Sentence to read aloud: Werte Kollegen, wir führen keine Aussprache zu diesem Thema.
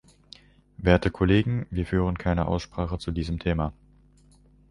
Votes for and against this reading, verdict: 2, 0, accepted